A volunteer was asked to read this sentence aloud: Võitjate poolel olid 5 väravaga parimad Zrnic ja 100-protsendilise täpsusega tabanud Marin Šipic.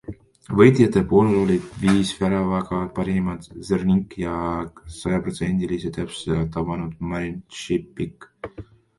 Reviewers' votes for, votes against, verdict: 0, 2, rejected